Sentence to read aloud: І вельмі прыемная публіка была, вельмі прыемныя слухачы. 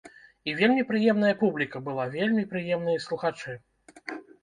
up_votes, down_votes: 2, 0